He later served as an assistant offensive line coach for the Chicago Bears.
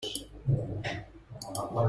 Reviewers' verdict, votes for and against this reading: rejected, 0, 2